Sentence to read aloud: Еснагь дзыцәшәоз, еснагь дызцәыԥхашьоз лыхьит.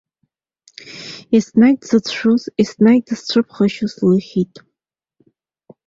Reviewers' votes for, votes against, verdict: 0, 2, rejected